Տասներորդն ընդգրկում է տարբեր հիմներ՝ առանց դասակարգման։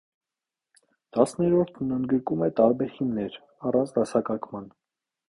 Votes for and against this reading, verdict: 0, 2, rejected